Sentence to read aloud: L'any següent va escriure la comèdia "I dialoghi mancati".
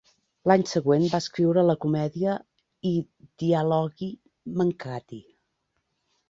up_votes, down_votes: 3, 1